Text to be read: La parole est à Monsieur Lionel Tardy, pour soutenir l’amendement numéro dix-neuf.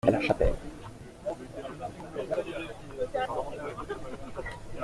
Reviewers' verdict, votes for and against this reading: rejected, 0, 2